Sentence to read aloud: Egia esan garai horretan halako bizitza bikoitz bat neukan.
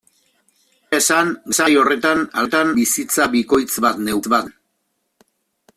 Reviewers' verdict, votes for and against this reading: rejected, 0, 2